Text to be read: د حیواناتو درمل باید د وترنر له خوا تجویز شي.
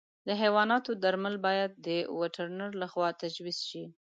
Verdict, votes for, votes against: accepted, 2, 0